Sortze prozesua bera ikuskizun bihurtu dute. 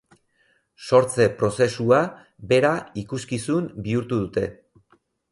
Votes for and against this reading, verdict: 4, 0, accepted